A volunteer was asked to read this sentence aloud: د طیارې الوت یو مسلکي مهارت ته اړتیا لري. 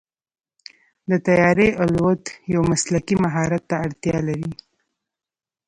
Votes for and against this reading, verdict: 2, 0, accepted